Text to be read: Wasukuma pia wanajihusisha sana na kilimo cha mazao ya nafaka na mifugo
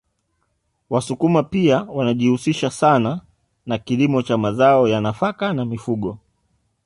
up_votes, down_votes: 0, 2